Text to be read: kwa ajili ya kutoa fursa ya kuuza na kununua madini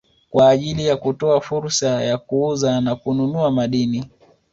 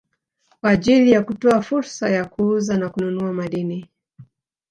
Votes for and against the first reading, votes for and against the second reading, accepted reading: 2, 0, 1, 2, first